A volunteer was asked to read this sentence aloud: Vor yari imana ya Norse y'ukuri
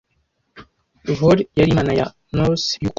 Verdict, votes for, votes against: rejected, 1, 2